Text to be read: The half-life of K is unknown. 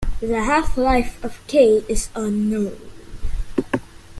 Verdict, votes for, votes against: accepted, 2, 0